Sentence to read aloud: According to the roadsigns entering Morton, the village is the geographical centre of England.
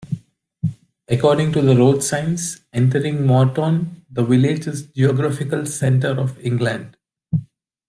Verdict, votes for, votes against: rejected, 1, 2